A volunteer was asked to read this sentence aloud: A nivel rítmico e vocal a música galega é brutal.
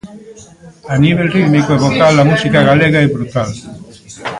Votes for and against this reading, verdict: 0, 2, rejected